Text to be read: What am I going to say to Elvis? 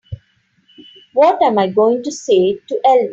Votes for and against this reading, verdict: 0, 2, rejected